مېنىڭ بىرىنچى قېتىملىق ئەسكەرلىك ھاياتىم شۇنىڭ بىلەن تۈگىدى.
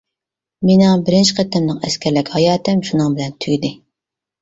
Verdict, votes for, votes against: accepted, 2, 0